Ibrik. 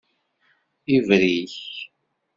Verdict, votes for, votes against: accepted, 2, 0